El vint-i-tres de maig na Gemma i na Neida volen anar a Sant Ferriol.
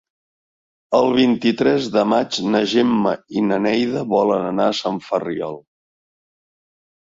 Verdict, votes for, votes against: accepted, 2, 0